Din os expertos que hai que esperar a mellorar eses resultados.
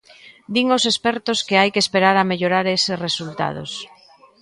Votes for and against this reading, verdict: 2, 0, accepted